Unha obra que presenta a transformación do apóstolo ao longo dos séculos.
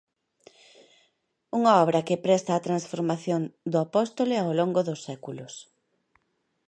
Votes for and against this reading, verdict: 1, 2, rejected